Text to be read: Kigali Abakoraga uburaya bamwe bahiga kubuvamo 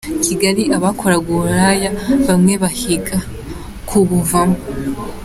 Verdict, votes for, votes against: accepted, 2, 0